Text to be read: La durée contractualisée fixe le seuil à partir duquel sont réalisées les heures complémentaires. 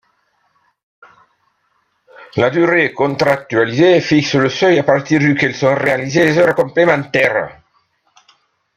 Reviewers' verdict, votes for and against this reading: accepted, 2, 0